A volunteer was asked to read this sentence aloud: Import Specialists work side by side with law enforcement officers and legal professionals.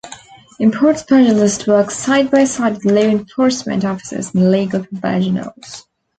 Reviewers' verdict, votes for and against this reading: rejected, 0, 2